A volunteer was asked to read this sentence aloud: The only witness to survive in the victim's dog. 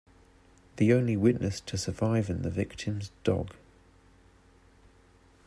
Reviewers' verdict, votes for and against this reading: accepted, 2, 1